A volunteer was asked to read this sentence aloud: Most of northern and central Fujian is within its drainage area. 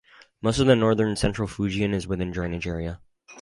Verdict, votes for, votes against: rejected, 2, 2